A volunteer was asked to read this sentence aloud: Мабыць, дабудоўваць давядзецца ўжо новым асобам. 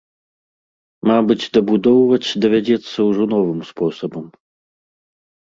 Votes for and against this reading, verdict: 1, 2, rejected